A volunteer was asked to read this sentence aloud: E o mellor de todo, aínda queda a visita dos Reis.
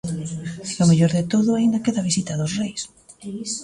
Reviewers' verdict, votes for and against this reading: rejected, 0, 2